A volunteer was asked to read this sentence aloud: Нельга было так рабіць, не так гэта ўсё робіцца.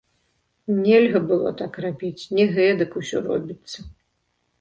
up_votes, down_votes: 0, 2